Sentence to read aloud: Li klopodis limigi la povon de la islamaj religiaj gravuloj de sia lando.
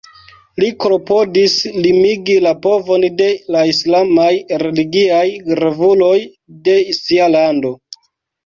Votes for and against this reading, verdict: 2, 1, accepted